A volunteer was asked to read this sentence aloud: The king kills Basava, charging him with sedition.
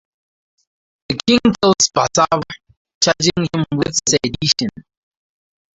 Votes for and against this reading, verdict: 2, 2, rejected